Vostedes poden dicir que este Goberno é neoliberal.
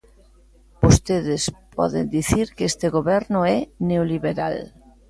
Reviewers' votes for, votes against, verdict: 2, 0, accepted